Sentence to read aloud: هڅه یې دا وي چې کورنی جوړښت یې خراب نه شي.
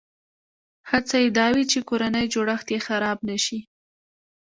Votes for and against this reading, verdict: 1, 2, rejected